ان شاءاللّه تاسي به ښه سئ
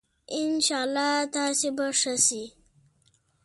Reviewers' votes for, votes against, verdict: 2, 0, accepted